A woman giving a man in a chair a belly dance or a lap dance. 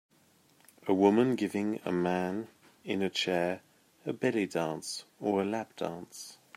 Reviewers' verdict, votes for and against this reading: accepted, 2, 0